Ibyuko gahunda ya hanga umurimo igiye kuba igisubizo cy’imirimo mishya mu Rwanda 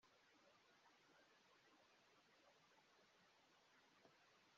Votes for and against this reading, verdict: 0, 2, rejected